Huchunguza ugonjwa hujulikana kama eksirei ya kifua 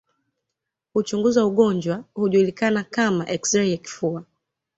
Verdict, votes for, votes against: accepted, 2, 0